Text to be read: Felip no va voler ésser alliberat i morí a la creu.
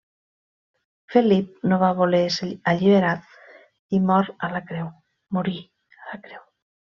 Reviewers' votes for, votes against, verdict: 0, 2, rejected